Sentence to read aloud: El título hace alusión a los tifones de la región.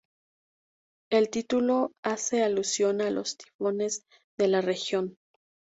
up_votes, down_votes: 0, 2